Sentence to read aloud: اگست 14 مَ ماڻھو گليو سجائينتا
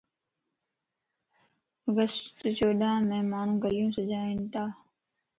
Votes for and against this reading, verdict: 0, 2, rejected